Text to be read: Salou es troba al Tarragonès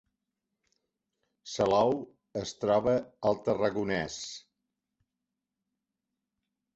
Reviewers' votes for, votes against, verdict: 3, 1, accepted